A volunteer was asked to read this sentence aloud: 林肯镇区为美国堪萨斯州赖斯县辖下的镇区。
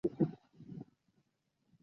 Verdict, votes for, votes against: rejected, 1, 2